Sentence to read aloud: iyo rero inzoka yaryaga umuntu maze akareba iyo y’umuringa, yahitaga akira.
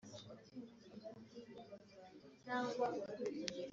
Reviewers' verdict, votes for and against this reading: rejected, 0, 2